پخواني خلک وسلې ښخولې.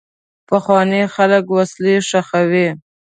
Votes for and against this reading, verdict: 1, 2, rejected